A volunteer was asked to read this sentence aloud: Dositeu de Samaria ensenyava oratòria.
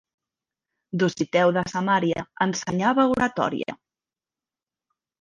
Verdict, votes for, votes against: rejected, 1, 2